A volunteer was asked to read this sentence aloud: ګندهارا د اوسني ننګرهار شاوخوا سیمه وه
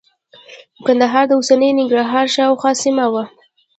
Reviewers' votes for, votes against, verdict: 1, 2, rejected